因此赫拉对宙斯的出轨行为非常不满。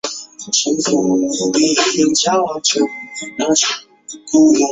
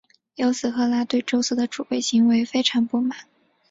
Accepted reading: second